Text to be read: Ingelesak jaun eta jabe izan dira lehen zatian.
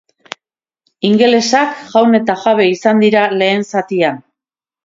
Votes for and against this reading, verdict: 2, 0, accepted